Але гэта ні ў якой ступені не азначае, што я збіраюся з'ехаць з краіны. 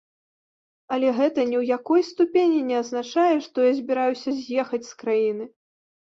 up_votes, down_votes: 2, 0